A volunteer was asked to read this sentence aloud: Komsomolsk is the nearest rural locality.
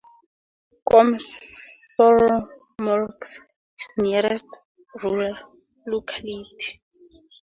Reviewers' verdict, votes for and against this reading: rejected, 0, 2